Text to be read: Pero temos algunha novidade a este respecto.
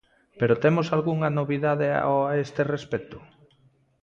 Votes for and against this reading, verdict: 0, 2, rejected